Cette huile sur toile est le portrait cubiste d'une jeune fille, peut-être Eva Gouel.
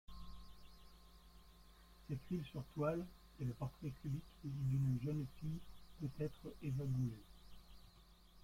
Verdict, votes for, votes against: rejected, 0, 2